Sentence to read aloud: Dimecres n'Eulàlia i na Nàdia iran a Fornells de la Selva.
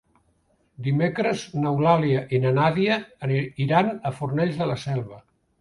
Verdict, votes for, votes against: rejected, 0, 2